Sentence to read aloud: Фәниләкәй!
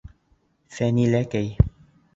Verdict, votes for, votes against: accepted, 2, 0